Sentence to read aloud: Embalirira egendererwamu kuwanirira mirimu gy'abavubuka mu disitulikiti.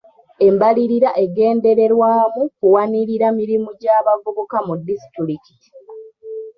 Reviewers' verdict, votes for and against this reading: rejected, 0, 2